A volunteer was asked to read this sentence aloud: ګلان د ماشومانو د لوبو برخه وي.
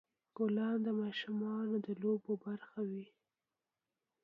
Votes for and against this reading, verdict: 0, 2, rejected